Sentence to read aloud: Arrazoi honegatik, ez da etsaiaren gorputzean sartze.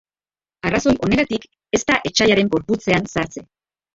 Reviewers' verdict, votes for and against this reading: rejected, 0, 3